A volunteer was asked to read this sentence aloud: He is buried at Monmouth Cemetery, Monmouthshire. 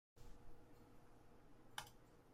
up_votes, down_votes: 0, 2